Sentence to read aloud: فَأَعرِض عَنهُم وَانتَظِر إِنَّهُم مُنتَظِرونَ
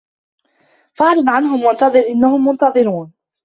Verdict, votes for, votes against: accepted, 2, 0